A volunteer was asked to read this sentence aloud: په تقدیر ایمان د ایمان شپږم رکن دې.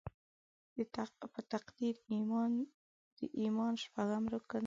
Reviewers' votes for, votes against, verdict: 1, 2, rejected